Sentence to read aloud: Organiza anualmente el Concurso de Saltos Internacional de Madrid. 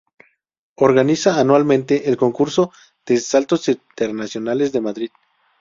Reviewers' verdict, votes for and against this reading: rejected, 0, 2